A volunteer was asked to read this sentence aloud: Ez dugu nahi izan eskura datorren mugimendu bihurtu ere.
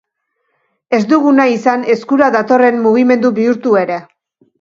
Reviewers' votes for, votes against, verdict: 2, 0, accepted